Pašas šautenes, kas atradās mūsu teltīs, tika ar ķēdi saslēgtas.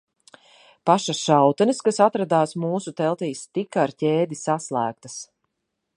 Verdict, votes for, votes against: accepted, 2, 0